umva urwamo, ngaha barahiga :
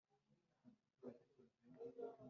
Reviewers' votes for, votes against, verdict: 0, 2, rejected